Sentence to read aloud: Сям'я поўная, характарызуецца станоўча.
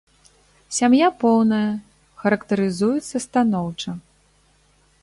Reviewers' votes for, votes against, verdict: 2, 0, accepted